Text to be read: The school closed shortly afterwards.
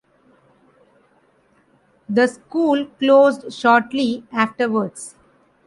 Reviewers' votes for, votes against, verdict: 3, 0, accepted